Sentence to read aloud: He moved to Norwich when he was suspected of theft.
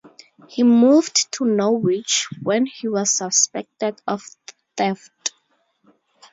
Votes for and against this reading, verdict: 2, 0, accepted